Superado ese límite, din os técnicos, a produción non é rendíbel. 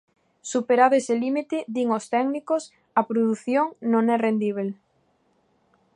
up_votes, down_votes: 2, 0